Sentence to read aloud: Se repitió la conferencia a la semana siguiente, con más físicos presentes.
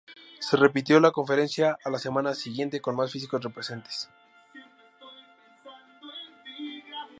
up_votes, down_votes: 0, 2